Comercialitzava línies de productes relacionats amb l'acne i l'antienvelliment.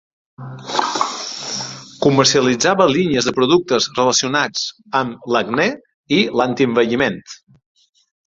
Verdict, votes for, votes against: accepted, 2, 0